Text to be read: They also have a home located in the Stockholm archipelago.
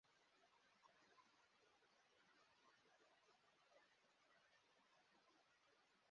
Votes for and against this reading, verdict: 0, 2, rejected